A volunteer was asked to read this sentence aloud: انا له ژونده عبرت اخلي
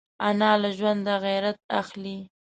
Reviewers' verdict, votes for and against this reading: rejected, 1, 2